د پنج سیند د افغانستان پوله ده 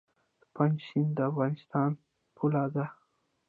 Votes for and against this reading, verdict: 1, 2, rejected